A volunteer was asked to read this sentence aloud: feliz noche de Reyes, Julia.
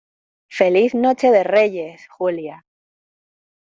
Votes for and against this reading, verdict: 2, 0, accepted